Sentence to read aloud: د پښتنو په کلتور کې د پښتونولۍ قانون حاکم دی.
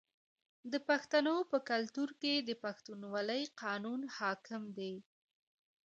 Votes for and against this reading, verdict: 2, 1, accepted